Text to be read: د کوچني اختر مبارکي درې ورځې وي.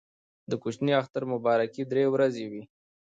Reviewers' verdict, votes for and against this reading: rejected, 1, 2